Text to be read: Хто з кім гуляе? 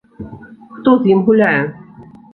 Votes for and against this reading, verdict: 0, 2, rejected